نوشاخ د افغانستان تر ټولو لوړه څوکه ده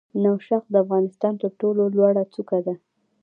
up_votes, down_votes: 1, 2